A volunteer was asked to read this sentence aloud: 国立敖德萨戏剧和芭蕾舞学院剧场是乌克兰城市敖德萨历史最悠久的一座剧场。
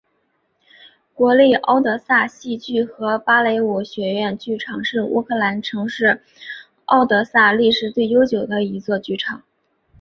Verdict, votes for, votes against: accepted, 3, 0